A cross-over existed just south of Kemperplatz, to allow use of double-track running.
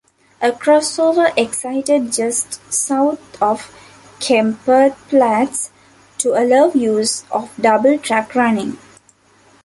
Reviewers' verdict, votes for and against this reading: rejected, 0, 2